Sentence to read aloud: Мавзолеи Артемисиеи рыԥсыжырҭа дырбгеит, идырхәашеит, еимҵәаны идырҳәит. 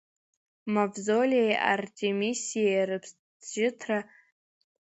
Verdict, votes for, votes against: rejected, 0, 2